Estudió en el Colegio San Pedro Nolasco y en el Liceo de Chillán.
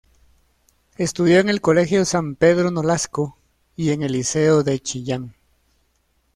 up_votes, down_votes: 2, 1